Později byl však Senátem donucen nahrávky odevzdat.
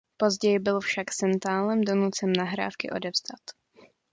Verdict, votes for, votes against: rejected, 0, 2